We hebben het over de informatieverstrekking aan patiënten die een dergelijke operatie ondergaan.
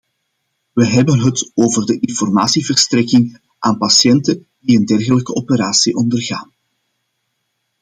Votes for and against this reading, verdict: 2, 0, accepted